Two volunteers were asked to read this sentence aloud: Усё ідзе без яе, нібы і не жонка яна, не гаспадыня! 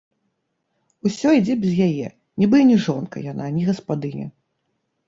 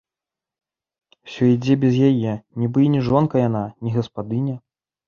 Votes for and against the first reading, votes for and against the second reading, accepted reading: 1, 2, 2, 0, second